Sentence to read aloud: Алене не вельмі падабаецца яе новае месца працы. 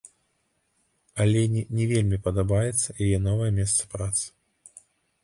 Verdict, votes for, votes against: accepted, 2, 0